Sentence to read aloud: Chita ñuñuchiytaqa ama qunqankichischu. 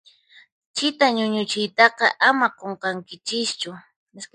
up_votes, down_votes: 4, 0